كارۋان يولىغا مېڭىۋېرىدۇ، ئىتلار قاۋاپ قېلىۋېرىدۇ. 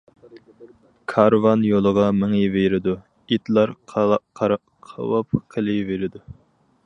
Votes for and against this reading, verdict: 0, 4, rejected